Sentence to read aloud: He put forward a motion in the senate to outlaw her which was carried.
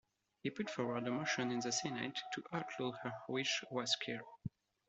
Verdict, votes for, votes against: rejected, 0, 2